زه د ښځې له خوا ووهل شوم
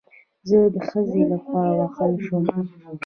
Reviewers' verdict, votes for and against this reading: accepted, 2, 1